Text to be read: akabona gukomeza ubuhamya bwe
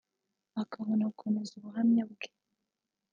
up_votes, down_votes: 2, 1